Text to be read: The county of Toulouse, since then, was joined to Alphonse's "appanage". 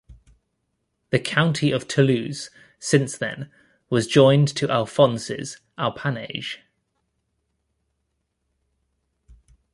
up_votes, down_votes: 2, 0